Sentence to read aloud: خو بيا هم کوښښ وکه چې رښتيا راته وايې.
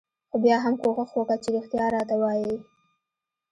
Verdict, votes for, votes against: accepted, 2, 1